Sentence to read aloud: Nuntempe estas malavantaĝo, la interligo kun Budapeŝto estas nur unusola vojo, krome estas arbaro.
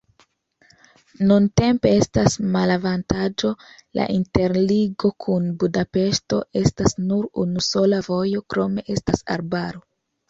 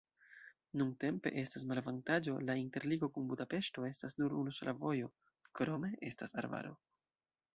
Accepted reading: first